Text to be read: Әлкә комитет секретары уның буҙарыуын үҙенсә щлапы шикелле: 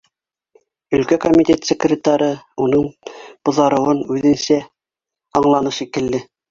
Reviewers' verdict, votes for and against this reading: rejected, 0, 2